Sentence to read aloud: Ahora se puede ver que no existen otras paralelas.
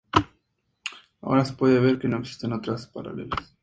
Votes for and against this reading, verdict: 2, 0, accepted